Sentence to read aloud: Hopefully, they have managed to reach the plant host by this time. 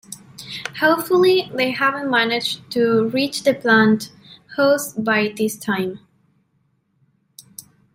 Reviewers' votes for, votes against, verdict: 1, 3, rejected